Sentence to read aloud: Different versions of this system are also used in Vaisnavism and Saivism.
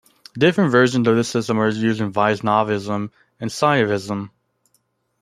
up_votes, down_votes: 0, 2